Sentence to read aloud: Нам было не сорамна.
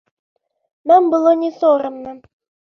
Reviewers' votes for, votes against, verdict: 1, 3, rejected